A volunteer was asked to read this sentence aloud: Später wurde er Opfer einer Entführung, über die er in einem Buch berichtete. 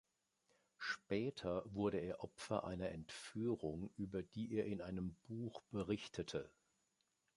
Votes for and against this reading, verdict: 2, 0, accepted